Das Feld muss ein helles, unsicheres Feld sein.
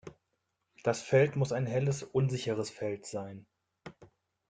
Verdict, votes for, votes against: accepted, 2, 0